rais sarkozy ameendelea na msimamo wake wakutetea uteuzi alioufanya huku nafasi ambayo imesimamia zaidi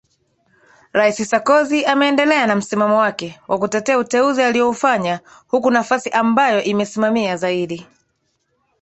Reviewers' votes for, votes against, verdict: 3, 0, accepted